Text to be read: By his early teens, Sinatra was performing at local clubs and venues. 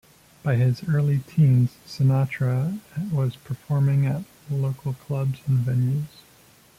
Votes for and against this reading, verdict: 2, 0, accepted